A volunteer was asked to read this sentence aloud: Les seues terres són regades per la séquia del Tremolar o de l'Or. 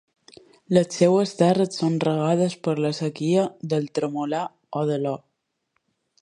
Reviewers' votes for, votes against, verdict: 0, 2, rejected